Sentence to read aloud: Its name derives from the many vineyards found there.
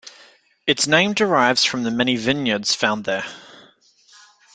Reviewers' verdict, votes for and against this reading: rejected, 2, 3